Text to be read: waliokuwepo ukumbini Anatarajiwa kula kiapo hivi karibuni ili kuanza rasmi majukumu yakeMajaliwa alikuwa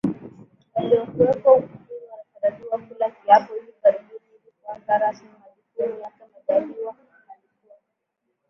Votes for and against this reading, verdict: 0, 2, rejected